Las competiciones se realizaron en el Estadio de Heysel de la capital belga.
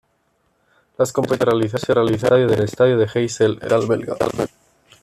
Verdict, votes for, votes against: rejected, 1, 2